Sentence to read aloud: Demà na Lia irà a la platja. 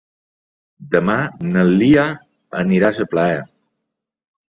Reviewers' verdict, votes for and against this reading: rejected, 0, 2